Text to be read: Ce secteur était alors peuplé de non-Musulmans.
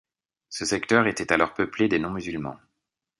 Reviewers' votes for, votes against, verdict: 1, 2, rejected